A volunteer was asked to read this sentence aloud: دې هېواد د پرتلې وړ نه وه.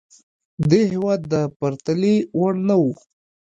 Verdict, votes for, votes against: accepted, 2, 0